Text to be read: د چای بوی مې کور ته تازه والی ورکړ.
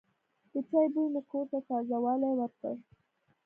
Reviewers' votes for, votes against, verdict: 2, 1, accepted